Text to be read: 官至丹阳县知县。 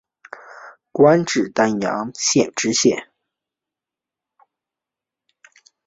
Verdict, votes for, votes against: accepted, 3, 0